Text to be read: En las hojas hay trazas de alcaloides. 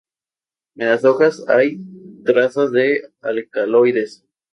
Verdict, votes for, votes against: accepted, 2, 0